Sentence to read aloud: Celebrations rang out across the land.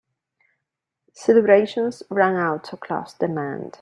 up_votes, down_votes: 1, 2